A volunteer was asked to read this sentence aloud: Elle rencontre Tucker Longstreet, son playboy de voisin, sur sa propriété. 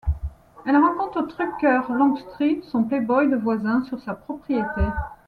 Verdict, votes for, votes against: rejected, 1, 2